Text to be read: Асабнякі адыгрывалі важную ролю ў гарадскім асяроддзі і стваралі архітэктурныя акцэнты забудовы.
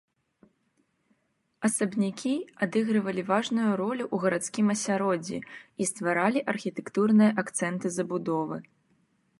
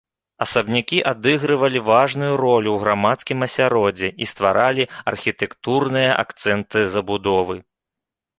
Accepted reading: first